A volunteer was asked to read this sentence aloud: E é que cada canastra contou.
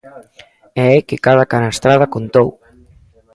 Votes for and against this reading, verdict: 0, 3, rejected